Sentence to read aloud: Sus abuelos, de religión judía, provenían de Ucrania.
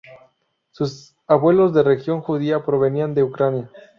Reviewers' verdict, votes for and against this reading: rejected, 0, 2